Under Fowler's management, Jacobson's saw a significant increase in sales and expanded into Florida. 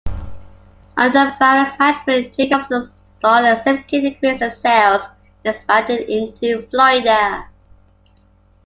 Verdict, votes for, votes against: rejected, 0, 2